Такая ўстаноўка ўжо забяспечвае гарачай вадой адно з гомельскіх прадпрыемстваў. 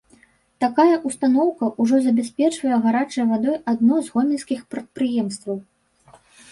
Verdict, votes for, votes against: rejected, 0, 2